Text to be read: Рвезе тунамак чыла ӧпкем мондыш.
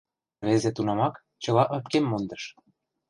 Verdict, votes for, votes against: rejected, 1, 2